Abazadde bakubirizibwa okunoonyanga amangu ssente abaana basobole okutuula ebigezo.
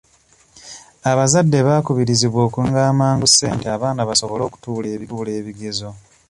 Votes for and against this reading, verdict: 1, 2, rejected